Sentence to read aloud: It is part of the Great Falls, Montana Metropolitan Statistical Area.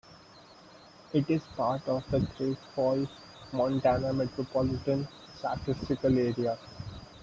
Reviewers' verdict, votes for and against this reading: rejected, 1, 2